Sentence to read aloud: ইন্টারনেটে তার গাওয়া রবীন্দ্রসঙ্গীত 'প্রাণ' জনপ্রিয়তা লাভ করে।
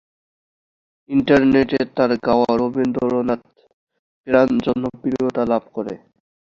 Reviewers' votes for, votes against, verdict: 0, 11, rejected